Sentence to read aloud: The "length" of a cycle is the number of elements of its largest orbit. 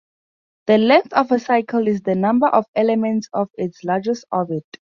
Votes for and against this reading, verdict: 4, 0, accepted